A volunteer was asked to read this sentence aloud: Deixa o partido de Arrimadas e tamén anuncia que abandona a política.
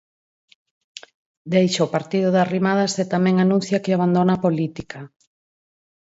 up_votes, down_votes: 4, 0